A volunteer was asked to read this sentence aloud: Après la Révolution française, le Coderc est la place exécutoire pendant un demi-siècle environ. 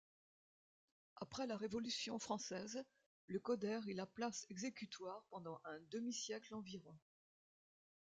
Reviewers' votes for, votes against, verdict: 0, 2, rejected